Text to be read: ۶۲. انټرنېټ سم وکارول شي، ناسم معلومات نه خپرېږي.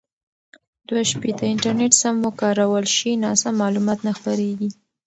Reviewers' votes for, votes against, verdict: 0, 2, rejected